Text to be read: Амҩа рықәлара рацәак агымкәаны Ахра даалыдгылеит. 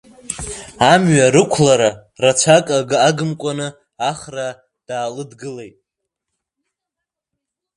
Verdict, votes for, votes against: rejected, 0, 2